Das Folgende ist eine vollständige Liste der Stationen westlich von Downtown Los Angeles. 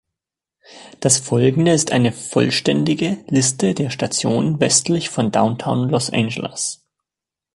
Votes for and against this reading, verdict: 2, 0, accepted